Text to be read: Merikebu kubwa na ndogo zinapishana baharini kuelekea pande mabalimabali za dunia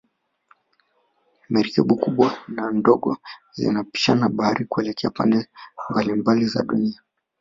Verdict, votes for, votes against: rejected, 0, 2